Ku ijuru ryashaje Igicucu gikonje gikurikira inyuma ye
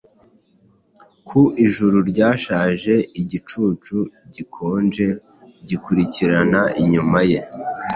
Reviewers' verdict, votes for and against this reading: accepted, 2, 0